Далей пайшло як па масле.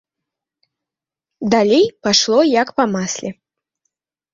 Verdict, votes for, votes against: accepted, 2, 0